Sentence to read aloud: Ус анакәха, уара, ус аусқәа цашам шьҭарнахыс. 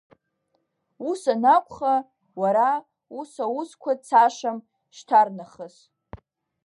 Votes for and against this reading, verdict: 2, 0, accepted